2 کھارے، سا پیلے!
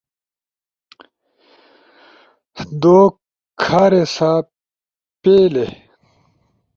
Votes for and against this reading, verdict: 0, 2, rejected